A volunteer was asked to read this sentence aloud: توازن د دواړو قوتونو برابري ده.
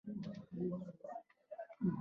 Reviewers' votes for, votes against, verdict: 1, 2, rejected